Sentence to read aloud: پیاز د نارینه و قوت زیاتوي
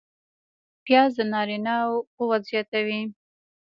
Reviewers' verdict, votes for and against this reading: rejected, 1, 2